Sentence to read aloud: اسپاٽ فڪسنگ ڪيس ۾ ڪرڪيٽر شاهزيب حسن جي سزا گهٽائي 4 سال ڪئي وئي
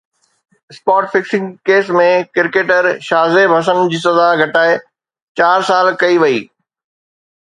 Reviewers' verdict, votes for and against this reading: rejected, 0, 2